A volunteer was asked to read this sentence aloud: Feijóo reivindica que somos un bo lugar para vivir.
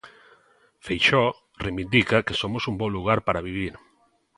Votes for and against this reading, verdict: 0, 2, rejected